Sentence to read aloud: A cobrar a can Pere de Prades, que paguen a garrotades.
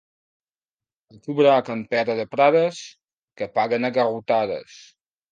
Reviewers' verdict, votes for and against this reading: rejected, 1, 2